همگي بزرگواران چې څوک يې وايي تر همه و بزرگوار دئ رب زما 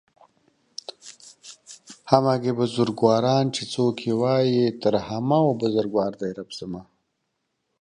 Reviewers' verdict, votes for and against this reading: accepted, 2, 0